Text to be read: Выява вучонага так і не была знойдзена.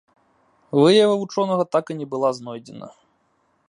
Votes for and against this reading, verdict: 1, 2, rejected